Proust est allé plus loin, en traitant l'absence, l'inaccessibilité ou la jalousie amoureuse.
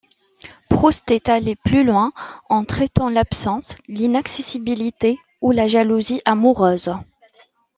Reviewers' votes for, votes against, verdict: 2, 0, accepted